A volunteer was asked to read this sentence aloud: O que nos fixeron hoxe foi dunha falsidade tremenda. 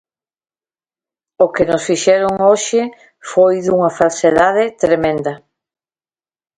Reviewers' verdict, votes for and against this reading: rejected, 0, 2